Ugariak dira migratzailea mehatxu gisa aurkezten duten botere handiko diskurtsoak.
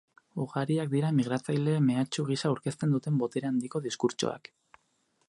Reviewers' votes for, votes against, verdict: 0, 4, rejected